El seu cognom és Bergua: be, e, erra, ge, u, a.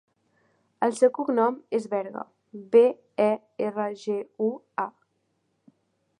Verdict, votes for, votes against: rejected, 0, 2